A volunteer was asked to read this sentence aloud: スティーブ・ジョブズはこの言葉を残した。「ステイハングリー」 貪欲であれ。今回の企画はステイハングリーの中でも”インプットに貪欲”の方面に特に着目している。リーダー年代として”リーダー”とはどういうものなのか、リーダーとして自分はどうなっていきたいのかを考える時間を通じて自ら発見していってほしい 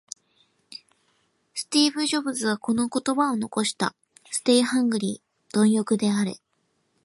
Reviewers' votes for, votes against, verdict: 2, 0, accepted